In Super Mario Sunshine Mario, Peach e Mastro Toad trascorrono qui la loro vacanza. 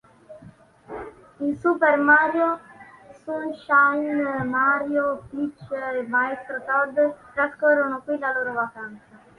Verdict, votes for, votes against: rejected, 2, 3